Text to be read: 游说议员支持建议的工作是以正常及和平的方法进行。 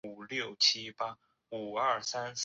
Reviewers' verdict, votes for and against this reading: rejected, 0, 2